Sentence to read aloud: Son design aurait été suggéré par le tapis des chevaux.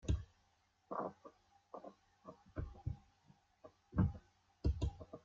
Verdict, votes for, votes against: rejected, 0, 2